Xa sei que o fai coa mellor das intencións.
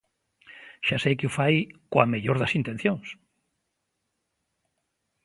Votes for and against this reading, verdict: 2, 1, accepted